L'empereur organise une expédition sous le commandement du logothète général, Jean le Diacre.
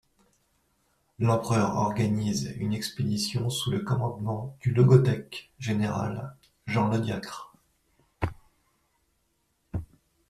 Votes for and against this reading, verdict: 1, 2, rejected